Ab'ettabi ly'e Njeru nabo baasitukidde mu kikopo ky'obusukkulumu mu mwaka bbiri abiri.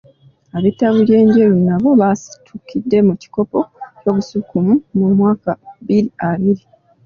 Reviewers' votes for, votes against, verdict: 2, 0, accepted